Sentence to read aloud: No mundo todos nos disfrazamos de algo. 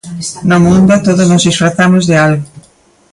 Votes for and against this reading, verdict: 0, 2, rejected